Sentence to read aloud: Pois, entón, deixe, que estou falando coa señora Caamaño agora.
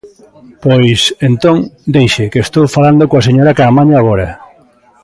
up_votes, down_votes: 1, 2